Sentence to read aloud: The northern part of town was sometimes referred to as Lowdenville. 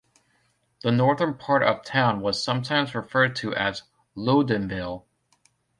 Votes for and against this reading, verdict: 2, 0, accepted